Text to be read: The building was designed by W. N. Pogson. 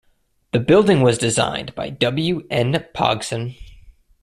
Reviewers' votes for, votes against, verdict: 2, 0, accepted